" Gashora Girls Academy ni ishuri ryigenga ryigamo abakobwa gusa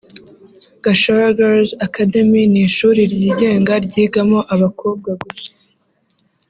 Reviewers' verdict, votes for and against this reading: accepted, 3, 0